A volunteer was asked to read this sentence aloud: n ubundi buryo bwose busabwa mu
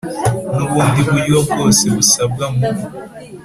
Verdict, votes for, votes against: accepted, 2, 0